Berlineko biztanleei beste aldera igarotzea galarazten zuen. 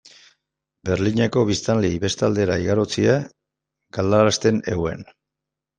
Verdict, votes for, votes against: rejected, 0, 2